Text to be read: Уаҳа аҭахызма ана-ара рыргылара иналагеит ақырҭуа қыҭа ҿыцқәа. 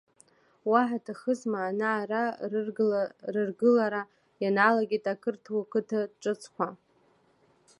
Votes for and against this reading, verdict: 1, 2, rejected